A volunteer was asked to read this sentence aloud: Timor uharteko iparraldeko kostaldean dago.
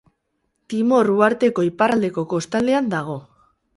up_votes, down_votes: 0, 2